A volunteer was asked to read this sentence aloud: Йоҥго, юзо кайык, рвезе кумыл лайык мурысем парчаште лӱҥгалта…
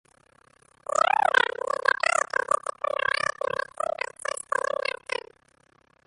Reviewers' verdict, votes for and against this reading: rejected, 0, 2